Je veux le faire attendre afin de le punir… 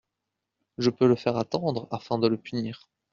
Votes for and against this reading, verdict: 1, 2, rejected